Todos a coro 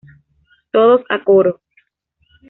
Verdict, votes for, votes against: accepted, 2, 0